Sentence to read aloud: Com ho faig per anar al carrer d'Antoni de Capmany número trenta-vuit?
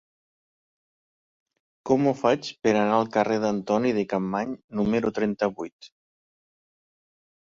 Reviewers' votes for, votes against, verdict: 3, 1, accepted